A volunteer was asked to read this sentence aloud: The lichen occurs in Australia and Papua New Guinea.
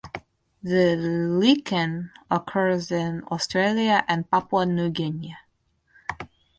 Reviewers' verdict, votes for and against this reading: rejected, 0, 4